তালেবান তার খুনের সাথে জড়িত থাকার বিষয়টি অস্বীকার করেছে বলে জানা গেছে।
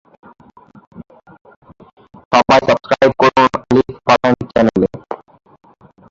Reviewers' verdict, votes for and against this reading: rejected, 1, 14